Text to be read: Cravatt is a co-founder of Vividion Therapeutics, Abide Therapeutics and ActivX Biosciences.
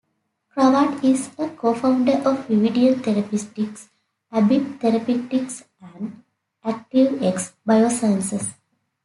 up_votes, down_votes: 0, 2